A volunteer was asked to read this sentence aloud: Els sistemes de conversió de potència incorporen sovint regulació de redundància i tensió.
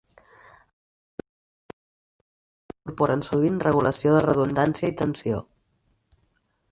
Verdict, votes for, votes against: rejected, 2, 4